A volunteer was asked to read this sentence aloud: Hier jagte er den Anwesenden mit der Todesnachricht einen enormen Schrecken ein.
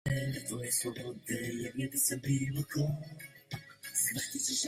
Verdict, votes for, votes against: rejected, 0, 2